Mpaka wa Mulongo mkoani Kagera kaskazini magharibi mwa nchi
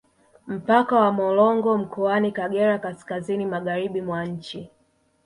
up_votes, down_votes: 1, 2